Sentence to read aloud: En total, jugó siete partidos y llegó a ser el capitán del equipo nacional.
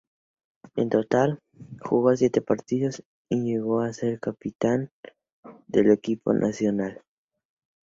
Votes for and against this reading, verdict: 0, 2, rejected